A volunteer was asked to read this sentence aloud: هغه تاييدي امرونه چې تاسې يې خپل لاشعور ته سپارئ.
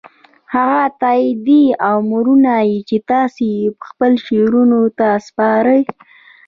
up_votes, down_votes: 1, 2